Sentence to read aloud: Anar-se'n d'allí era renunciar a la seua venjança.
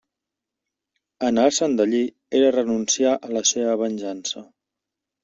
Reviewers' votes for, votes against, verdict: 1, 2, rejected